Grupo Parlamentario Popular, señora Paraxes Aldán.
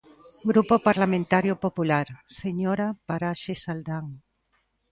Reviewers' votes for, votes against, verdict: 2, 0, accepted